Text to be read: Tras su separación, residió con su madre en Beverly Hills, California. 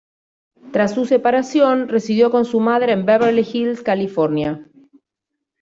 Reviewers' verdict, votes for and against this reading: accepted, 2, 0